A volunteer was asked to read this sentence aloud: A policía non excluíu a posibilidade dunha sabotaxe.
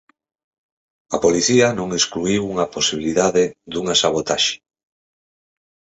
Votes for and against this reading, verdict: 4, 2, accepted